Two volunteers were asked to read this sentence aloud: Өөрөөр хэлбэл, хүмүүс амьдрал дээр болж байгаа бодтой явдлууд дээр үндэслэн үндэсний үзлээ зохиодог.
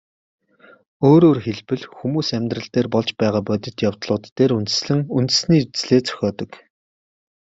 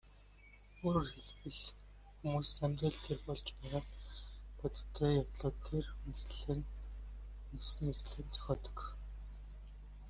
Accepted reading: first